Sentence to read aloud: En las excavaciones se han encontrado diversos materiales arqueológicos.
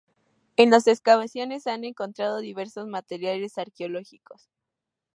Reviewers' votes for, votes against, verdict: 2, 0, accepted